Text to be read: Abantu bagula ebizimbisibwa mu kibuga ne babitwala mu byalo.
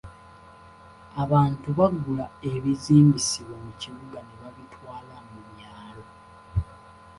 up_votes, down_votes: 2, 0